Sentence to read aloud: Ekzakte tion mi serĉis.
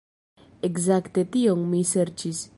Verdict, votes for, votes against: rejected, 0, 2